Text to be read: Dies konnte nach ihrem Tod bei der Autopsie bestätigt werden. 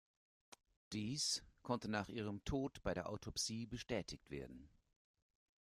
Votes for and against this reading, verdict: 2, 0, accepted